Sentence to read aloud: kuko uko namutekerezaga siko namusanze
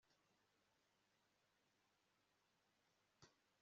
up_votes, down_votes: 0, 2